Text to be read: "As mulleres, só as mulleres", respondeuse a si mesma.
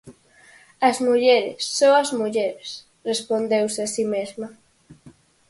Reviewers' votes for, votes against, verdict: 4, 0, accepted